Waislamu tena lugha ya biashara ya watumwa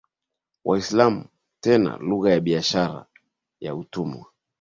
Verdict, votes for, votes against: accepted, 7, 6